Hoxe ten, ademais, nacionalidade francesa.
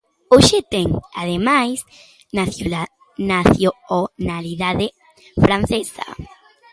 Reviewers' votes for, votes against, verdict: 0, 2, rejected